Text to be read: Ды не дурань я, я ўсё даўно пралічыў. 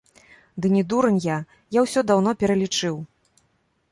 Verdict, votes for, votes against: rejected, 1, 2